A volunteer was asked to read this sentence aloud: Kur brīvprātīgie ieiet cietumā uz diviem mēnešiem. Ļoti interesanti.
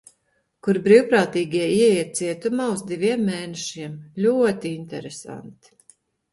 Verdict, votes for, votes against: accepted, 2, 0